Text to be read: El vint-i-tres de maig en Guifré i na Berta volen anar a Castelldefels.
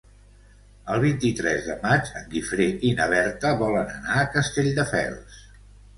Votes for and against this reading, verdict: 2, 0, accepted